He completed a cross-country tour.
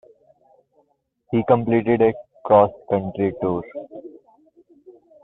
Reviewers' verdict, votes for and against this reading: rejected, 1, 2